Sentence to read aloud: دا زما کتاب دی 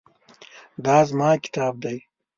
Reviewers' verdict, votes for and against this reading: accepted, 2, 0